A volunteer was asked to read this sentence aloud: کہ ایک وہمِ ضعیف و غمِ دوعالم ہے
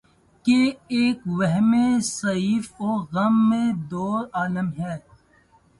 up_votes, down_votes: 0, 2